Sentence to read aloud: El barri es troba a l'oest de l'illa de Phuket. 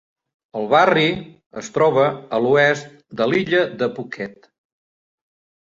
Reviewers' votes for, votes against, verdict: 2, 0, accepted